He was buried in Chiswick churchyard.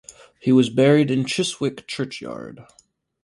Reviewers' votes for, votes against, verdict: 2, 2, rejected